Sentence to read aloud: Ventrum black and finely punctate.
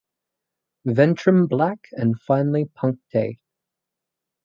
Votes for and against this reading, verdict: 4, 0, accepted